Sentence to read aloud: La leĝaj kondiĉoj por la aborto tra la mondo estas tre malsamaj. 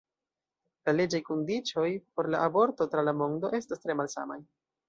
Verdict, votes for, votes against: rejected, 1, 2